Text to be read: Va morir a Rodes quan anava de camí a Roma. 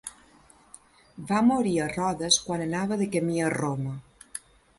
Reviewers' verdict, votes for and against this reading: accepted, 2, 0